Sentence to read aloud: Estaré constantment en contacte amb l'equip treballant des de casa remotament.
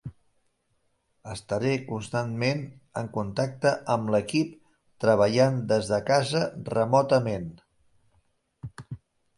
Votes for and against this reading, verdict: 4, 0, accepted